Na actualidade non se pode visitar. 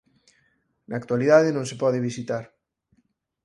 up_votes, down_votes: 4, 0